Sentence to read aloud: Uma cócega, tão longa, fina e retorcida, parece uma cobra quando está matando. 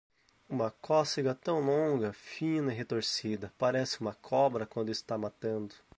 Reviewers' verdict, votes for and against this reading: accepted, 4, 0